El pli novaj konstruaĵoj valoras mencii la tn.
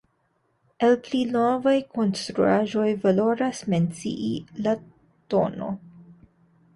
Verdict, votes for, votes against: accepted, 2, 0